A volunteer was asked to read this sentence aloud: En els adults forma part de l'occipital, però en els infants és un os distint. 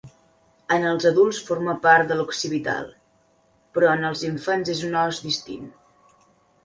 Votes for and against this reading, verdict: 2, 1, accepted